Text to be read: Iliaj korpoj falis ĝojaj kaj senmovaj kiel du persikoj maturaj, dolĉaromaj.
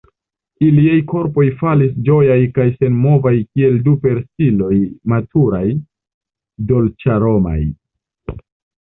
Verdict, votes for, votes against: rejected, 1, 2